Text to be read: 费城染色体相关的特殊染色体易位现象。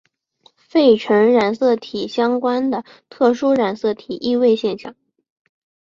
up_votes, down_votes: 5, 0